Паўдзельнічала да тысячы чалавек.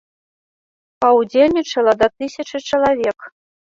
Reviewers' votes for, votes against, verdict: 2, 0, accepted